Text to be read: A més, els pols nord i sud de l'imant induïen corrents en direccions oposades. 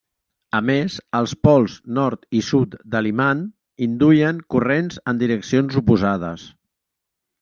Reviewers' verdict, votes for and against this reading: rejected, 0, 2